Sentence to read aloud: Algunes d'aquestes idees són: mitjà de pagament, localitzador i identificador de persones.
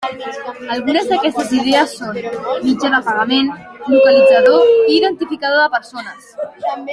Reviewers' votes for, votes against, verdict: 0, 2, rejected